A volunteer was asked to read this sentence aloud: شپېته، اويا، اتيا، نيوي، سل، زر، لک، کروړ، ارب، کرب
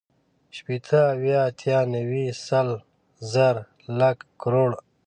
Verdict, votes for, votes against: rejected, 0, 2